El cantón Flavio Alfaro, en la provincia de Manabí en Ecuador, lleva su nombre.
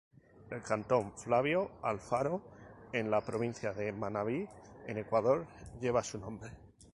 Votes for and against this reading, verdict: 0, 2, rejected